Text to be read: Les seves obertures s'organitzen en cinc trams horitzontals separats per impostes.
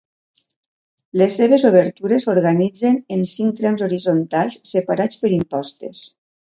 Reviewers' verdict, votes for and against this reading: accepted, 2, 0